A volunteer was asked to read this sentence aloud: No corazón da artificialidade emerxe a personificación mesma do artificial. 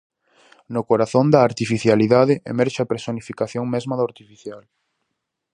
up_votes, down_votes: 4, 0